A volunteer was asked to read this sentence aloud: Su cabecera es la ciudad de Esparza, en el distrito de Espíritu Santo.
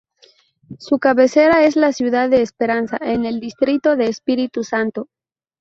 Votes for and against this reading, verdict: 0, 2, rejected